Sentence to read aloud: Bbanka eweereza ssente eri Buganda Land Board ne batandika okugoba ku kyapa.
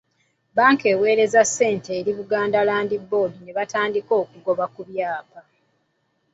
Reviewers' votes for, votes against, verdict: 2, 0, accepted